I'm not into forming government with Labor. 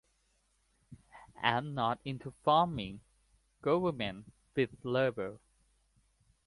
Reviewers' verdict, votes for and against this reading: rejected, 0, 2